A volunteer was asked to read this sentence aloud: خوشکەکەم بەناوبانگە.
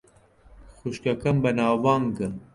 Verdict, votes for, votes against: accepted, 2, 0